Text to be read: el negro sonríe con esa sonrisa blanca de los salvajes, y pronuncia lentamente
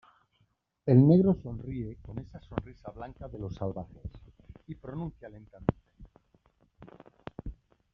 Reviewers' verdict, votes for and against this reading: rejected, 0, 2